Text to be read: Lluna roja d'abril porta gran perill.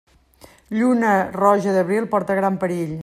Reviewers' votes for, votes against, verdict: 3, 0, accepted